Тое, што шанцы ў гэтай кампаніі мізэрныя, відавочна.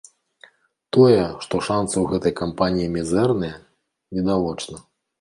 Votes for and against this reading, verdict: 2, 0, accepted